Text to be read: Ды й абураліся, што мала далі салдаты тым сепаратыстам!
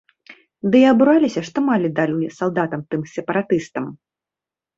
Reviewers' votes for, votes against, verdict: 1, 2, rejected